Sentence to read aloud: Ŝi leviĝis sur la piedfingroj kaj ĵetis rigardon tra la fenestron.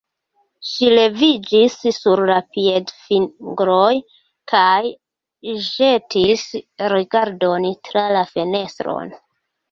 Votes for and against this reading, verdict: 2, 0, accepted